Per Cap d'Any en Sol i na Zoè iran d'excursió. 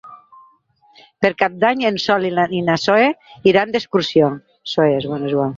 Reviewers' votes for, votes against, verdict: 0, 4, rejected